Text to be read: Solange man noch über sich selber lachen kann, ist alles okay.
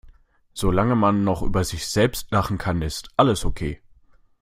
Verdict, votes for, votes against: rejected, 0, 2